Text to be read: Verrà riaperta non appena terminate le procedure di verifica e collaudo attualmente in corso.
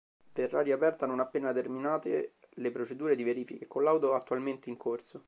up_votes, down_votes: 2, 1